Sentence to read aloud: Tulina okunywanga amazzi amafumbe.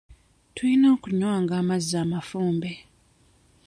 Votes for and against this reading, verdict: 2, 0, accepted